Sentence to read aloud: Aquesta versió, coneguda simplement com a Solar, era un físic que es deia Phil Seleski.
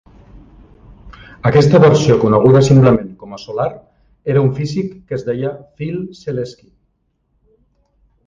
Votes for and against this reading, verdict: 3, 0, accepted